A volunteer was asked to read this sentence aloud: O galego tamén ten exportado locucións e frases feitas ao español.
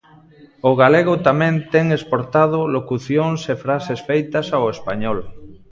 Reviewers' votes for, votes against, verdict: 0, 2, rejected